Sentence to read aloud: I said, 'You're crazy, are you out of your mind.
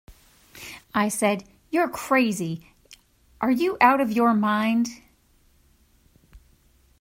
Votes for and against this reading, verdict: 2, 0, accepted